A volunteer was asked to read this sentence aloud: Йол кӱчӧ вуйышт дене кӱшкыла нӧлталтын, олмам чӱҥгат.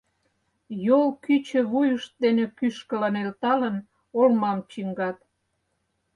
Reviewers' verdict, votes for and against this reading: rejected, 0, 4